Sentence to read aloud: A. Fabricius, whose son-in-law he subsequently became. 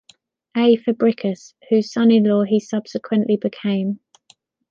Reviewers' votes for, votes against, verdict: 1, 2, rejected